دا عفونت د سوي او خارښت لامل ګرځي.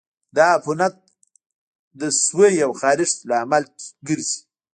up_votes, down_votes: 2, 0